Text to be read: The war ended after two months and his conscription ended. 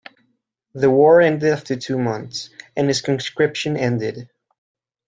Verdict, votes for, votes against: accepted, 2, 0